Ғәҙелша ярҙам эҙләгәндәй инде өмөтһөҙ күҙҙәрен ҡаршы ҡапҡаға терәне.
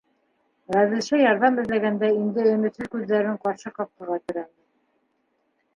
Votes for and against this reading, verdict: 0, 2, rejected